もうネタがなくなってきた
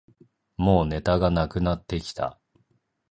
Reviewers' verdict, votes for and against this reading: accepted, 2, 1